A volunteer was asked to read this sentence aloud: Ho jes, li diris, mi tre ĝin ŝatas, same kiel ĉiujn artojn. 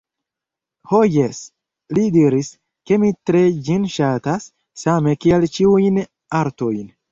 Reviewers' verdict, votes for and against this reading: rejected, 1, 2